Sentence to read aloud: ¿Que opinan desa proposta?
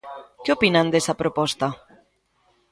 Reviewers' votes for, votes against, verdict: 2, 0, accepted